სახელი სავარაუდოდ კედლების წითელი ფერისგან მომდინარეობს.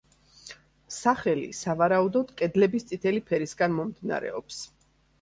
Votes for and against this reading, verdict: 2, 0, accepted